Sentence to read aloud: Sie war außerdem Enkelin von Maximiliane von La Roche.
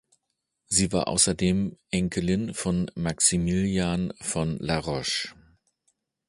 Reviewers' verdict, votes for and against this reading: rejected, 0, 2